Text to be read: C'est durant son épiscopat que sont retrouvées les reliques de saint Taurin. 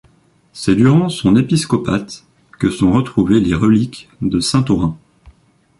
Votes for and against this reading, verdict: 0, 2, rejected